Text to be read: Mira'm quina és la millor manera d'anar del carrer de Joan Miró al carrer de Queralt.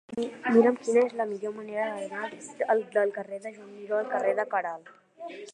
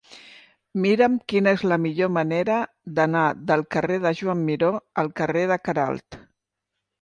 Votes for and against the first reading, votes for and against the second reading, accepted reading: 0, 2, 2, 0, second